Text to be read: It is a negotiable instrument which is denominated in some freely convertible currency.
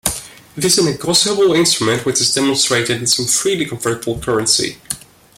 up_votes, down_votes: 0, 2